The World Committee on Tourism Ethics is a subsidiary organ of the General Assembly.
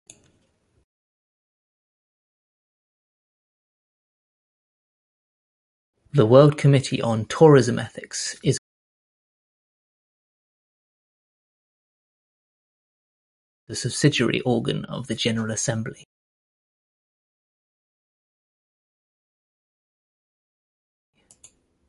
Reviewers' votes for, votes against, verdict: 1, 2, rejected